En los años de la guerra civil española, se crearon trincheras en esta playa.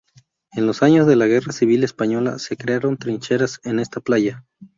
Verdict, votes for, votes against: accepted, 2, 0